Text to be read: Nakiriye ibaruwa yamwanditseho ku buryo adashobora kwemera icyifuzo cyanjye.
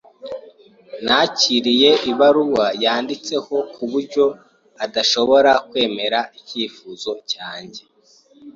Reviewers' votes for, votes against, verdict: 1, 2, rejected